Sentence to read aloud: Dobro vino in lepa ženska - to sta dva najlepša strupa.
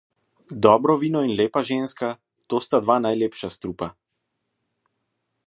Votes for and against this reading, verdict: 2, 0, accepted